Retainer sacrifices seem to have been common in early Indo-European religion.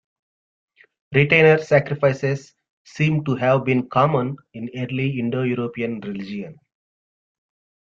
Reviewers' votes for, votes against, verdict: 1, 2, rejected